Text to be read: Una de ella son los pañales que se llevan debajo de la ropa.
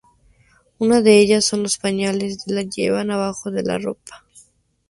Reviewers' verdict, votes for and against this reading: rejected, 0, 4